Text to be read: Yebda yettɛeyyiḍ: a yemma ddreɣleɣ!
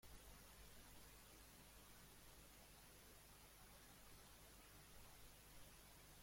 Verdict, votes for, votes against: rejected, 0, 2